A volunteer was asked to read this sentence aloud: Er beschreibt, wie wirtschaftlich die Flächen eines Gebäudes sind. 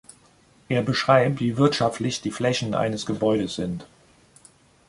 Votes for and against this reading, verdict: 1, 2, rejected